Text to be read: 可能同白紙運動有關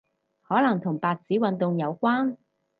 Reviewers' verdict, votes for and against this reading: accepted, 4, 0